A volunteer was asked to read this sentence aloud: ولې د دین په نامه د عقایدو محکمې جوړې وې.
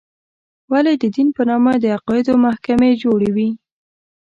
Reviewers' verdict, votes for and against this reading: accepted, 2, 0